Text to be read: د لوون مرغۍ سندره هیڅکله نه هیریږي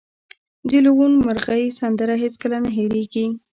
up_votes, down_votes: 2, 1